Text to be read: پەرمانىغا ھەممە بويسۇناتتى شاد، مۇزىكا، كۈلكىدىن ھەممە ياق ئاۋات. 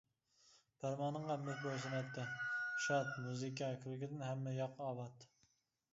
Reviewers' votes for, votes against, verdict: 0, 2, rejected